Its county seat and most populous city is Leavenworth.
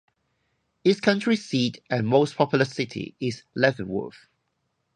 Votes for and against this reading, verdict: 0, 4, rejected